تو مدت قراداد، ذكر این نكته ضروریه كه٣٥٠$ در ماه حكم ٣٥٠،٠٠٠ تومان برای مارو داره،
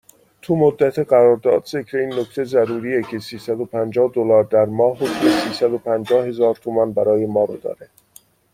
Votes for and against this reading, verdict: 0, 2, rejected